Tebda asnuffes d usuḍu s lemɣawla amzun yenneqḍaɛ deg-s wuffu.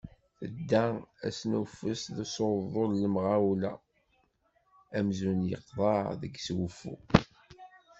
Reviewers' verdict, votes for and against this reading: rejected, 1, 2